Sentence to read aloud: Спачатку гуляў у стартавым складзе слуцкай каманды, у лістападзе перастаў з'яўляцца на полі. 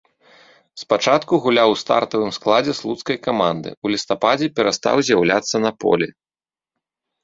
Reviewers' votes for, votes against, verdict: 2, 0, accepted